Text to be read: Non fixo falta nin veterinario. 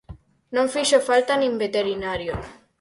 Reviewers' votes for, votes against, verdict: 4, 0, accepted